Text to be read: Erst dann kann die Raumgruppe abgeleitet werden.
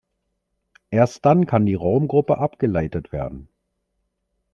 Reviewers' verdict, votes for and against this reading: accepted, 3, 0